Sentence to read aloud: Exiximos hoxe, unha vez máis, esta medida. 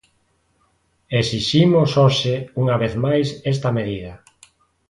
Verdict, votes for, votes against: accepted, 2, 0